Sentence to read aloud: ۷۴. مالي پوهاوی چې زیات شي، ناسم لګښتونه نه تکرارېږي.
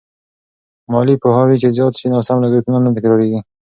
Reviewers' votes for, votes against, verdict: 0, 2, rejected